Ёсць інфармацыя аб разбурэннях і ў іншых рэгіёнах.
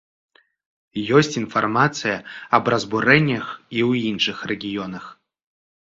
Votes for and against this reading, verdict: 2, 0, accepted